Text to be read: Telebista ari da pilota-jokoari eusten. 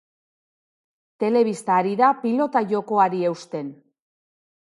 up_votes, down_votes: 2, 0